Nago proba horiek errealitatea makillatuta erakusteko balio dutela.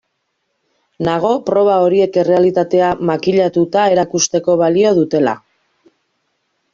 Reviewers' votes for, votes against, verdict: 2, 0, accepted